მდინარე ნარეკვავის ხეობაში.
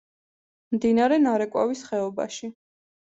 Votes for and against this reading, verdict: 2, 0, accepted